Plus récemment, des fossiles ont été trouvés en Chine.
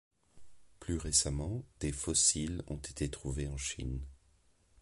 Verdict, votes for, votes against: rejected, 1, 2